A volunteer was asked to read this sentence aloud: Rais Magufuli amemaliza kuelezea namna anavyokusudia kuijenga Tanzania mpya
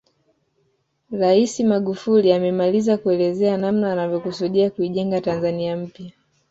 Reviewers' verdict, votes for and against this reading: accepted, 2, 0